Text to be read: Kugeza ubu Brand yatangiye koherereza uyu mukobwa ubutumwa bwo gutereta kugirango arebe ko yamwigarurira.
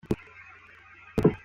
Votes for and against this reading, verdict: 0, 2, rejected